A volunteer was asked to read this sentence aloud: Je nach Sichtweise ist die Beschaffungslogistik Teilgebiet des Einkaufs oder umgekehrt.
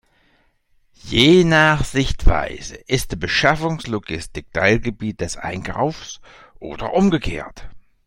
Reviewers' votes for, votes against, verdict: 2, 0, accepted